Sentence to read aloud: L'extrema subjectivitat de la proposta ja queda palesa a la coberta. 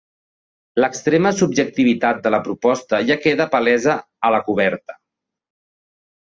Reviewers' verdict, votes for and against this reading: accepted, 4, 0